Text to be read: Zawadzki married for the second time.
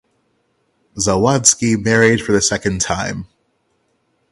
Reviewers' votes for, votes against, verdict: 3, 0, accepted